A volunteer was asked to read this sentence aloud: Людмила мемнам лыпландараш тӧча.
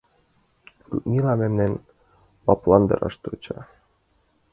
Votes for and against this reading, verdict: 0, 2, rejected